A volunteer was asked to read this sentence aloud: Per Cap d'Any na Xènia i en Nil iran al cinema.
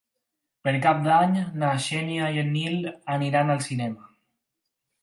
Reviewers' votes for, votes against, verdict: 2, 4, rejected